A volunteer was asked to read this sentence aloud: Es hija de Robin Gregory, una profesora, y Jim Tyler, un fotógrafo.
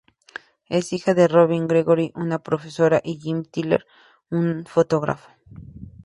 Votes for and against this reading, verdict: 2, 0, accepted